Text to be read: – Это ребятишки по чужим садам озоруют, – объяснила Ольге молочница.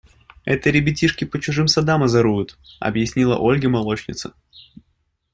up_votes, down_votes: 2, 0